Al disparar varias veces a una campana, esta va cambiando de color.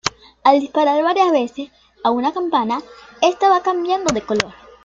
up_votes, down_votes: 2, 0